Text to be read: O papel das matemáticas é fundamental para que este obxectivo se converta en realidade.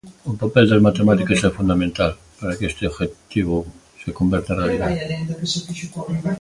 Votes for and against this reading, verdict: 0, 2, rejected